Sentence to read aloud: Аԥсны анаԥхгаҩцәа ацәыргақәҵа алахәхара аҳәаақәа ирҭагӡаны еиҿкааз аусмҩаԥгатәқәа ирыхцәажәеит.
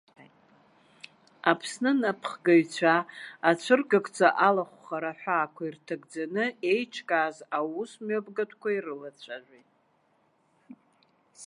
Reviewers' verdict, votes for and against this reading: rejected, 1, 2